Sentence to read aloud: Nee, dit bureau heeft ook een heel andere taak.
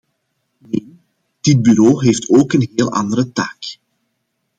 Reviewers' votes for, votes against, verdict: 0, 2, rejected